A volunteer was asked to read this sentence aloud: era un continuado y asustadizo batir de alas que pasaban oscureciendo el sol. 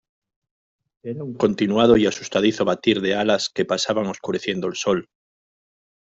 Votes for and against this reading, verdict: 2, 0, accepted